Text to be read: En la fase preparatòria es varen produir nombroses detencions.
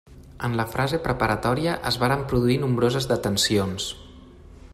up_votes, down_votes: 0, 3